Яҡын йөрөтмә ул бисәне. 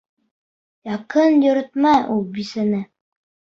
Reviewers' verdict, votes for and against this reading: accepted, 2, 0